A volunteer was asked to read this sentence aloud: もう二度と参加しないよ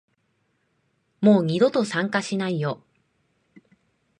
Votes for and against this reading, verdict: 2, 0, accepted